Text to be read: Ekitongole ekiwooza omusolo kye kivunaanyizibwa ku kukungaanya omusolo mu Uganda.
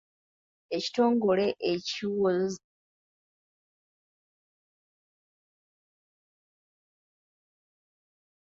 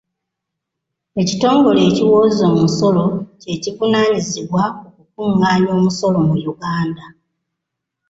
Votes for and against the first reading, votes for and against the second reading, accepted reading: 0, 2, 2, 0, second